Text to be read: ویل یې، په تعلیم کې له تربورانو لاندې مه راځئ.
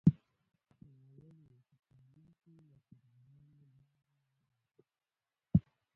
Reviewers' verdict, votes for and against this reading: rejected, 0, 2